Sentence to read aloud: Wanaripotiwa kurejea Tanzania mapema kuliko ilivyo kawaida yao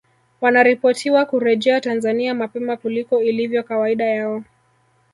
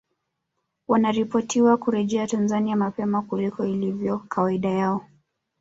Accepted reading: second